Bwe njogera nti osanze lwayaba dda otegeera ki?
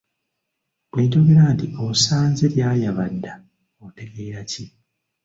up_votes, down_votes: 1, 2